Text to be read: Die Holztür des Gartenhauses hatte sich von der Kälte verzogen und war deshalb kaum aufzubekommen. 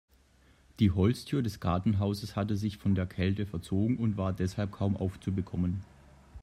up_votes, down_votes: 2, 0